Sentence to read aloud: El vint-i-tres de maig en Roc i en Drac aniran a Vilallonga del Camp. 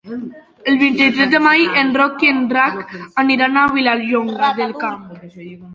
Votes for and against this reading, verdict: 0, 2, rejected